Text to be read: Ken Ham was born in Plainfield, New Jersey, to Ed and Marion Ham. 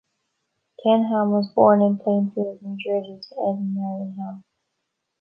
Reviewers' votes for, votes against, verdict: 0, 2, rejected